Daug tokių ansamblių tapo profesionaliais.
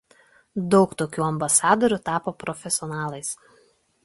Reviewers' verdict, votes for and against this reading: rejected, 0, 2